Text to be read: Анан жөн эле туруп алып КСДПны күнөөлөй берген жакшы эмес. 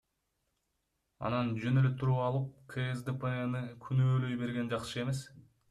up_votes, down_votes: 2, 0